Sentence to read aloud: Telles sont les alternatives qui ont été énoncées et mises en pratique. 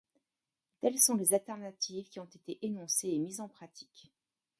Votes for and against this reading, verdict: 0, 2, rejected